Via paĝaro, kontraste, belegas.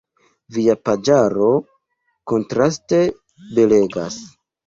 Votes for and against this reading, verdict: 1, 2, rejected